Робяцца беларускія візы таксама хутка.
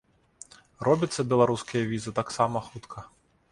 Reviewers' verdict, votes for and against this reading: accepted, 2, 0